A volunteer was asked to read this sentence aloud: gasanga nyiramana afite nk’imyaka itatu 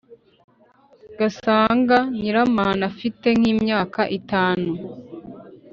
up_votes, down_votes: 1, 2